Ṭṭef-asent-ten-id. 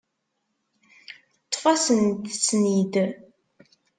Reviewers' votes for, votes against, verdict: 2, 4, rejected